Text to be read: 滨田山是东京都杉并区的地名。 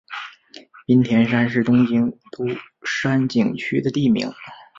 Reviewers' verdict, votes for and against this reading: accepted, 2, 0